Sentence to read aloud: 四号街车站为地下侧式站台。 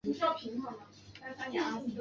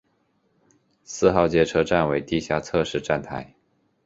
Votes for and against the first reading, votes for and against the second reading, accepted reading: 0, 2, 2, 0, second